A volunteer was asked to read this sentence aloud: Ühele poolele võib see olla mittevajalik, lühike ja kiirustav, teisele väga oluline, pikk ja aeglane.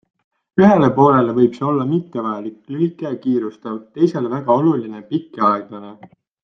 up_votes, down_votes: 2, 0